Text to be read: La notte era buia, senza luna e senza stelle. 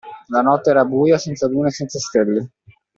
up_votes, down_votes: 2, 0